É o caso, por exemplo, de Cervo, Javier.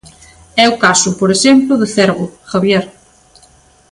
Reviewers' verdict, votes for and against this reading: accepted, 3, 0